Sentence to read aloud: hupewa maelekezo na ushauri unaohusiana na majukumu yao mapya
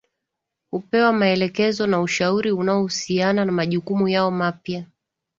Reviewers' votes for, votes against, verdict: 9, 1, accepted